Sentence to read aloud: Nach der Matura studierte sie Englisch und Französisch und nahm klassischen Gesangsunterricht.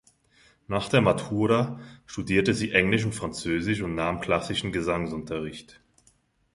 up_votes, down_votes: 2, 0